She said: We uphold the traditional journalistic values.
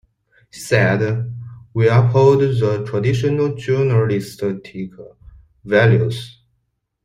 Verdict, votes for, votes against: accepted, 2, 0